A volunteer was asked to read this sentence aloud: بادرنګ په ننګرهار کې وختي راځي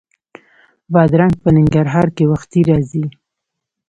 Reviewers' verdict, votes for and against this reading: rejected, 0, 2